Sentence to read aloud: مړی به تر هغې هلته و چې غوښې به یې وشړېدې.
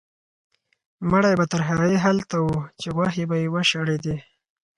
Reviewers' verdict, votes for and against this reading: accepted, 4, 0